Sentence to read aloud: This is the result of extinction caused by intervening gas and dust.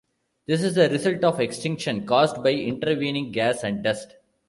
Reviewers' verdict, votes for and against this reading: rejected, 1, 2